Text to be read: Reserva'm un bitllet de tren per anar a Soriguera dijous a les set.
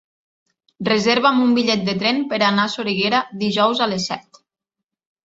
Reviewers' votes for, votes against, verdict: 3, 0, accepted